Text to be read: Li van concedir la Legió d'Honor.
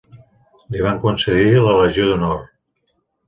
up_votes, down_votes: 5, 0